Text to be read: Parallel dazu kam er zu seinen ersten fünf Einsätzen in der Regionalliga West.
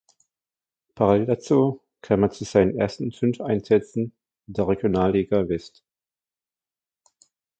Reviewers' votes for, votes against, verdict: 1, 2, rejected